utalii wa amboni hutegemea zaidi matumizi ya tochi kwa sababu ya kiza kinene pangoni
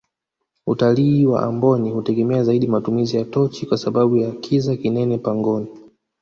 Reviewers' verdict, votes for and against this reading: rejected, 1, 2